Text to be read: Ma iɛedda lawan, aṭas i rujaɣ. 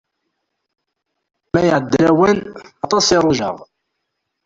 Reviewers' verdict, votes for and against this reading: rejected, 1, 2